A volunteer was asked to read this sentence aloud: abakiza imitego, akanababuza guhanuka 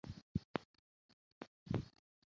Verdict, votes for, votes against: rejected, 0, 2